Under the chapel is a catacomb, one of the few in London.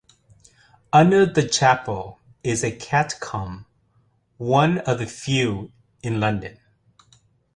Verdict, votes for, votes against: accepted, 2, 1